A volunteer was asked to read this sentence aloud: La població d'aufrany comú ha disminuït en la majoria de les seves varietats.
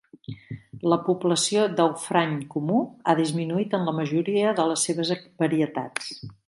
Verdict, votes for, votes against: rejected, 0, 2